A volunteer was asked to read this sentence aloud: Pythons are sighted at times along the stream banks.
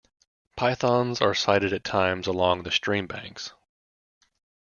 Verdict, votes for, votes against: accepted, 2, 0